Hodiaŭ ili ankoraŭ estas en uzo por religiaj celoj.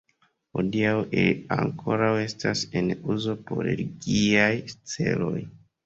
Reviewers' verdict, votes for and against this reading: rejected, 1, 2